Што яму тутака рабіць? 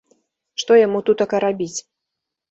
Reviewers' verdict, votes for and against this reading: accepted, 6, 0